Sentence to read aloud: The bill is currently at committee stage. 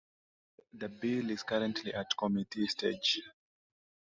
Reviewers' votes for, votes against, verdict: 2, 0, accepted